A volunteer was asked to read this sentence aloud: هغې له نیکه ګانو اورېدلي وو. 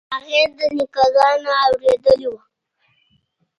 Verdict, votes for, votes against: rejected, 1, 2